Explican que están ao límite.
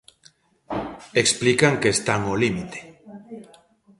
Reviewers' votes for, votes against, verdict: 1, 2, rejected